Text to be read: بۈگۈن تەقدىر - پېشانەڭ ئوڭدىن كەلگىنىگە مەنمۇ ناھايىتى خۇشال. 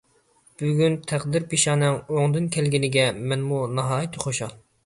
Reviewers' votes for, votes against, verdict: 2, 0, accepted